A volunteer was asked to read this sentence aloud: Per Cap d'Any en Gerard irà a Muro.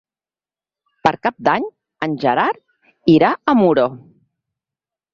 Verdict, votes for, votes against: accepted, 6, 0